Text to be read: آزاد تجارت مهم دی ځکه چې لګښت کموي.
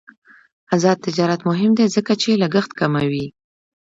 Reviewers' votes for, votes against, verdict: 2, 1, accepted